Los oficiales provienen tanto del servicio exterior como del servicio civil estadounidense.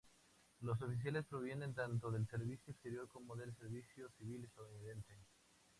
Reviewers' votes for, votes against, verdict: 2, 0, accepted